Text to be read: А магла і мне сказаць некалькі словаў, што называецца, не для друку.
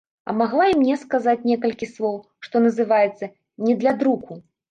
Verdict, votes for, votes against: rejected, 1, 2